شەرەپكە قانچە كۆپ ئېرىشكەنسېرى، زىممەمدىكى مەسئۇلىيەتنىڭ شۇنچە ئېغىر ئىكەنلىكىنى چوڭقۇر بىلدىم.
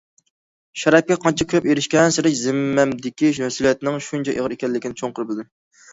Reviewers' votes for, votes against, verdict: 1, 2, rejected